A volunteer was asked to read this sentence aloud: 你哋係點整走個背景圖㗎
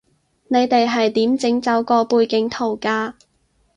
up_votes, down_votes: 6, 0